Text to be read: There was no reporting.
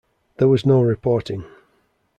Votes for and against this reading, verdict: 2, 0, accepted